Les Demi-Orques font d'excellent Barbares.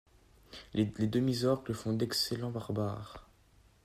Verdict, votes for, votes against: accepted, 2, 0